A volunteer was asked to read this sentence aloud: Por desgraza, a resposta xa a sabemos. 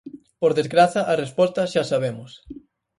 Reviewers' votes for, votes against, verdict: 4, 0, accepted